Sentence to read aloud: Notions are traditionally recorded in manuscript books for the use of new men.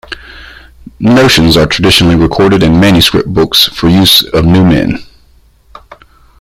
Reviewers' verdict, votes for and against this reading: rejected, 1, 2